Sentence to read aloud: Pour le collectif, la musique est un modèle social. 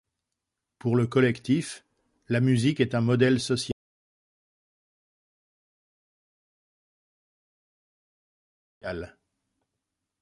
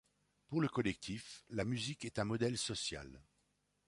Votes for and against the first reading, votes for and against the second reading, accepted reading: 0, 2, 2, 0, second